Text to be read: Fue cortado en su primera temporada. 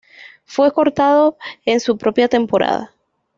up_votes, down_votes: 1, 2